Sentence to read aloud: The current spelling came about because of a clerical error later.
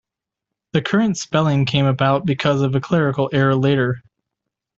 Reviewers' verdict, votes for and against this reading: accepted, 2, 0